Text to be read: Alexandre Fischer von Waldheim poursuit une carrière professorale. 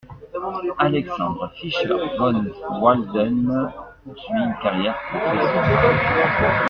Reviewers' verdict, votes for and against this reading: rejected, 0, 2